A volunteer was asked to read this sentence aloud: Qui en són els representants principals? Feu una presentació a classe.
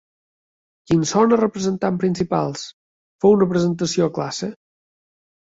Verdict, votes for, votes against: accepted, 2, 1